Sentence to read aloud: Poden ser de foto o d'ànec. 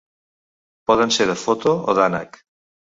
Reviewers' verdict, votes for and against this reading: accepted, 3, 0